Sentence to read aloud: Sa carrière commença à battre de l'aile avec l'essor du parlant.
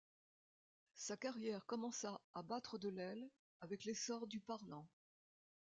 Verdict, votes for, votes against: accepted, 2, 0